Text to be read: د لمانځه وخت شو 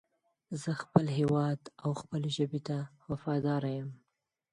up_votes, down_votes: 0, 4